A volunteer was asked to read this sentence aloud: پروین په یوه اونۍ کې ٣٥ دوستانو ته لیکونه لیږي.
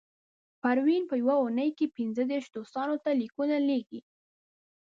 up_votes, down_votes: 0, 2